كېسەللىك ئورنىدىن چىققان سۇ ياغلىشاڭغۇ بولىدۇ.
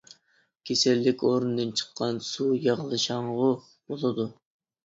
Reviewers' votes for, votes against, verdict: 2, 0, accepted